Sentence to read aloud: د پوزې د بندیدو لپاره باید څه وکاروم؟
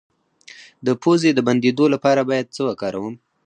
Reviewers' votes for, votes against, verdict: 2, 4, rejected